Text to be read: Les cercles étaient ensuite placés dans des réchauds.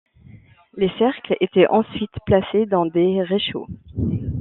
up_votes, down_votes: 2, 0